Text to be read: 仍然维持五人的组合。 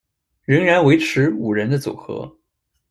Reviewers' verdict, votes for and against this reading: accepted, 2, 0